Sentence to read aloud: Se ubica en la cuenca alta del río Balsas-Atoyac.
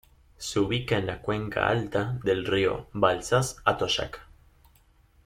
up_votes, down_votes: 0, 2